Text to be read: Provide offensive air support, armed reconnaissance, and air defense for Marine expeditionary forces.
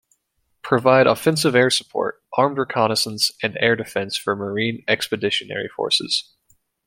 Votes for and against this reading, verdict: 3, 0, accepted